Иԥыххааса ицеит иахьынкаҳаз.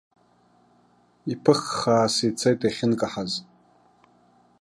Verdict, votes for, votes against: accepted, 2, 0